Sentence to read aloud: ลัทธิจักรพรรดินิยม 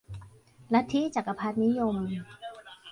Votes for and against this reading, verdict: 3, 2, accepted